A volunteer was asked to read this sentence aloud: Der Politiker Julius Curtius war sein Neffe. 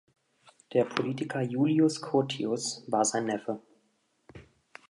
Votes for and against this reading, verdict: 2, 0, accepted